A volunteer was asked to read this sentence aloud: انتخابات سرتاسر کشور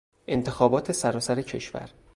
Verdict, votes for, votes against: rejected, 0, 2